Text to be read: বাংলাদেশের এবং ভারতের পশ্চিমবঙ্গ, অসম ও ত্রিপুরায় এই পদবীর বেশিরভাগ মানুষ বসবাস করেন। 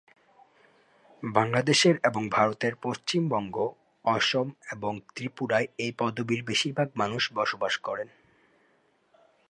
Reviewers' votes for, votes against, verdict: 13, 3, accepted